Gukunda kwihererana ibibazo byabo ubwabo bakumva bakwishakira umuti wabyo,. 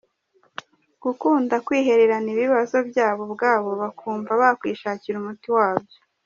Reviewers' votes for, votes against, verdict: 1, 2, rejected